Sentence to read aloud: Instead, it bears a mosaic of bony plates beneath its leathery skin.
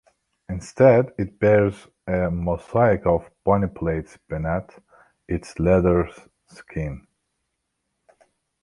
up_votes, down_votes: 0, 2